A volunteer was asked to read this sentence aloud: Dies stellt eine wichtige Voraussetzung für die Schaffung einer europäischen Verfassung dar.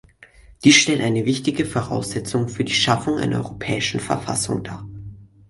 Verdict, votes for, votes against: accepted, 4, 0